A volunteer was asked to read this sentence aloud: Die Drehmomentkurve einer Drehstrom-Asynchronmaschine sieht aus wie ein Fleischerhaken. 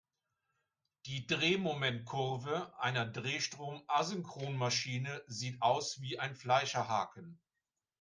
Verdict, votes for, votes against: accepted, 3, 0